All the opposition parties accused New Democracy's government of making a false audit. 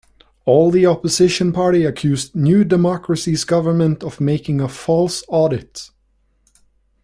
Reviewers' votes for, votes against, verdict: 1, 2, rejected